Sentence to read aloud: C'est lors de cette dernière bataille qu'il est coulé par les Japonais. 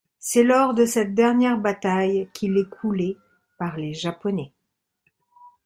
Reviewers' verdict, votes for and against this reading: accepted, 2, 0